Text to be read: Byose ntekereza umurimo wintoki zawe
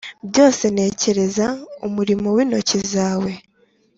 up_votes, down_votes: 3, 0